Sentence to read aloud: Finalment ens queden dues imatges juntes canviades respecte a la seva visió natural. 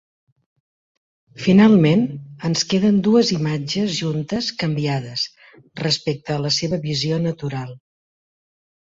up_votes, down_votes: 2, 0